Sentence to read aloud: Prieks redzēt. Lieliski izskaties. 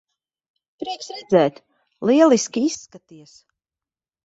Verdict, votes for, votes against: accepted, 2, 1